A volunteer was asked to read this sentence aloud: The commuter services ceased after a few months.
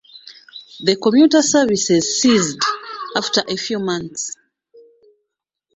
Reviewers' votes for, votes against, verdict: 2, 1, accepted